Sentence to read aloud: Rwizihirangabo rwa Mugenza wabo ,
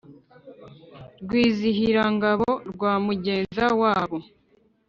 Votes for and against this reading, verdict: 2, 0, accepted